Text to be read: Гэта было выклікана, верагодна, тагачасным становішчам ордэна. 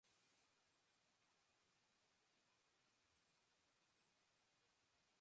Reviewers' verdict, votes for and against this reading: rejected, 0, 2